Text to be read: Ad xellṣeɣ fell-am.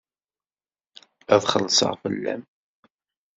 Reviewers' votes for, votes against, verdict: 2, 0, accepted